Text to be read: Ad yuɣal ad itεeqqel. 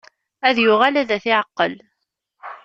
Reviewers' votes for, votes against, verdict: 1, 2, rejected